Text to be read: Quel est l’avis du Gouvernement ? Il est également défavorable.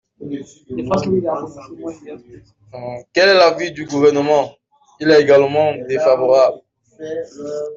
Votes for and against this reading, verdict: 2, 1, accepted